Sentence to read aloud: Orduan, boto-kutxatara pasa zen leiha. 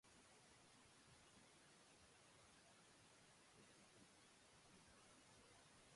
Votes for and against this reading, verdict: 0, 2, rejected